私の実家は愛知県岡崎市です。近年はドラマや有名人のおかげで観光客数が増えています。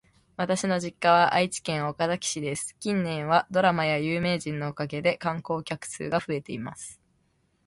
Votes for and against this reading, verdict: 2, 0, accepted